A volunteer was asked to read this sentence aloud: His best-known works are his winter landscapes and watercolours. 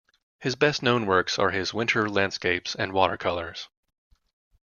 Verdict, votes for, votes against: accepted, 2, 0